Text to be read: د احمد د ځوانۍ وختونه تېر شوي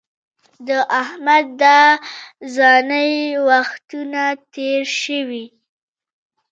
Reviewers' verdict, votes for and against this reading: rejected, 1, 2